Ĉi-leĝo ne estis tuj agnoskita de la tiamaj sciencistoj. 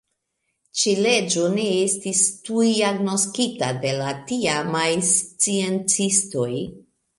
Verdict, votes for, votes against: accepted, 3, 0